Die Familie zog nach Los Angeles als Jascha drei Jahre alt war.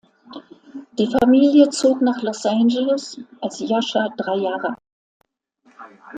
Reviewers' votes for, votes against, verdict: 0, 2, rejected